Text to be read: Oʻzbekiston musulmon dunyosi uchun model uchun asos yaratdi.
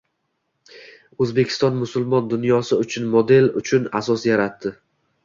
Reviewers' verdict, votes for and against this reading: accepted, 2, 0